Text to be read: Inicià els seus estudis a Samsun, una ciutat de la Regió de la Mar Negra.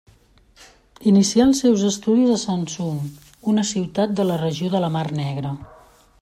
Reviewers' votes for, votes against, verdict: 2, 0, accepted